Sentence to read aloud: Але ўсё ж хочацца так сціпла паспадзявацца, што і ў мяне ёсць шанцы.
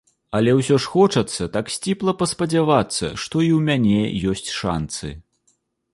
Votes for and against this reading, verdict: 2, 0, accepted